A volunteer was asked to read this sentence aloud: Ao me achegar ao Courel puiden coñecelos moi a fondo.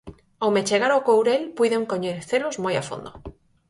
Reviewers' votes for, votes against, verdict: 6, 2, accepted